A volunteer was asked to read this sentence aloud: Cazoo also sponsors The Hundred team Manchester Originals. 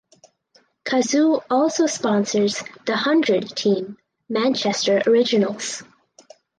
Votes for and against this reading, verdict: 4, 0, accepted